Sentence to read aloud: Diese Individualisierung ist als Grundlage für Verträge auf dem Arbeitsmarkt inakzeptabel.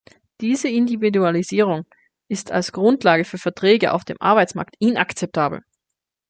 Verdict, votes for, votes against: accepted, 2, 0